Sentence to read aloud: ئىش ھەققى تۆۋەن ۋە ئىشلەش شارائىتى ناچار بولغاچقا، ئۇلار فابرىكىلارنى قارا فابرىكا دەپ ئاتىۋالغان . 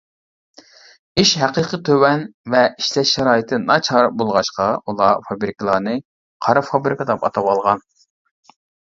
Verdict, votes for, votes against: rejected, 0, 2